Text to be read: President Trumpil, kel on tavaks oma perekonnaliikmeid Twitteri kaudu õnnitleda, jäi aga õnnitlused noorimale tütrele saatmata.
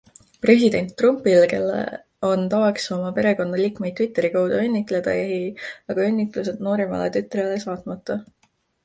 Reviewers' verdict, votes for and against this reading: accepted, 2, 0